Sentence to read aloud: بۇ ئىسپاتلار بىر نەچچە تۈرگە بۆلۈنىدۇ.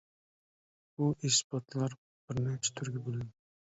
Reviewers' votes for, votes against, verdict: 0, 2, rejected